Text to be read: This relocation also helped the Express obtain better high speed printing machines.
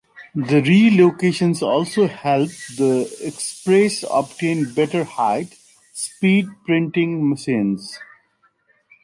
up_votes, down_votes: 1, 3